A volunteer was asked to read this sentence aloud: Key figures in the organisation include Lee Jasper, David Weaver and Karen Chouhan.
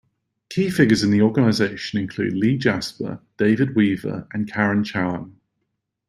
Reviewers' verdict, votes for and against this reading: accepted, 2, 0